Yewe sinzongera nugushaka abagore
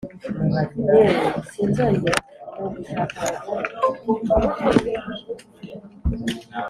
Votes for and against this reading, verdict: 3, 2, accepted